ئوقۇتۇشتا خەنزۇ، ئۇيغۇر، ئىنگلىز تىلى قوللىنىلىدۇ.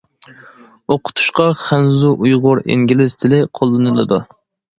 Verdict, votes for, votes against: accepted, 2, 0